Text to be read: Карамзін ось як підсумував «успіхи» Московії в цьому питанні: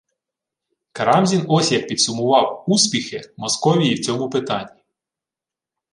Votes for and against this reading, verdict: 2, 0, accepted